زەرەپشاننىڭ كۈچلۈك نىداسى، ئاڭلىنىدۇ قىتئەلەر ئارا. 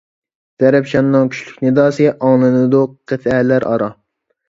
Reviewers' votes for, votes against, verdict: 1, 2, rejected